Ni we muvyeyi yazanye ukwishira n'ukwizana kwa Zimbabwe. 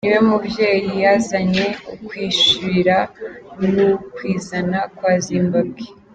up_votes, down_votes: 3, 0